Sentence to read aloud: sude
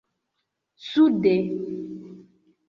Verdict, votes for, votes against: rejected, 0, 2